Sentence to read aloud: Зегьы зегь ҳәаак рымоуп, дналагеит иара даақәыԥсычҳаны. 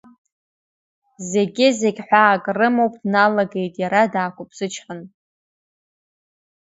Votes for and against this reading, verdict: 2, 0, accepted